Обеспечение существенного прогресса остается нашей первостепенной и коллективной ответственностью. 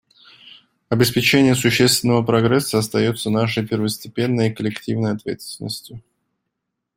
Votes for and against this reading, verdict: 2, 0, accepted